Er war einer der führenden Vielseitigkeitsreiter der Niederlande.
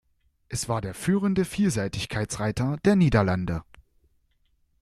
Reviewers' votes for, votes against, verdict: 0, 2, rejected